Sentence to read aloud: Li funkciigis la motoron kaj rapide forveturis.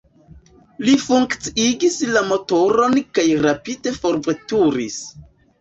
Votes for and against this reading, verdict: 1, 2, rejected